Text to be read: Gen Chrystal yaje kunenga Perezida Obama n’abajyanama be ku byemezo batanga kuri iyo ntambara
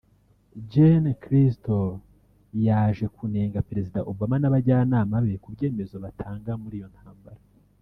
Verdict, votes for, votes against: rejected, 1, 2